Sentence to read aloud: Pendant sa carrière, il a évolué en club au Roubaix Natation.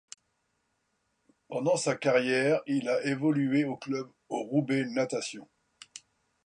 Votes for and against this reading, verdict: 0, 2, rejected